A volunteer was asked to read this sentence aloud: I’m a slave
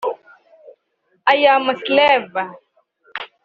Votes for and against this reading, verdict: 1, 2, rejected